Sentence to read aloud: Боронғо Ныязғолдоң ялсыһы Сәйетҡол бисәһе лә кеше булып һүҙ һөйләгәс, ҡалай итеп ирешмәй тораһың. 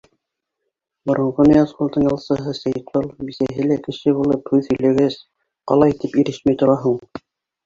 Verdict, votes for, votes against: rejected, 1, 2